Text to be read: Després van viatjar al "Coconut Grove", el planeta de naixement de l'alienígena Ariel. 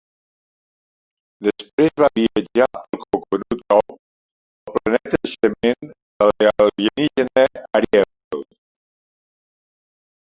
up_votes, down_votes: 0, 2